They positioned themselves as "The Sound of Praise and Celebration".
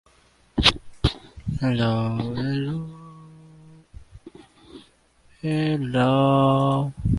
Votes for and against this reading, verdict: 0, 2, rejected